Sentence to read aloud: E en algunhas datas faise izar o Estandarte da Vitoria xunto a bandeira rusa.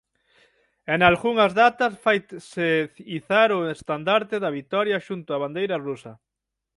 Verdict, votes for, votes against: rejected, 0, 6